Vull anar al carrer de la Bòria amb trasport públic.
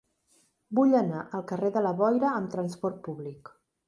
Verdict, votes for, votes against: rejected, 1, 2